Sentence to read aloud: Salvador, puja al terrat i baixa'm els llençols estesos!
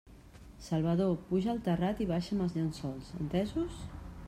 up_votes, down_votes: 0, 2